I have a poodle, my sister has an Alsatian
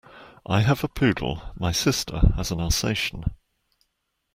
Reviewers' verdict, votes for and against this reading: accepted, 2, 0